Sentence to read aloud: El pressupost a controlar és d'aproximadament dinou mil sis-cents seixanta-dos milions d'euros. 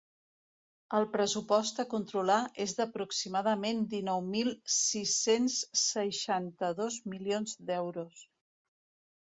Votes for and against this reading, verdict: 2, 0, accepted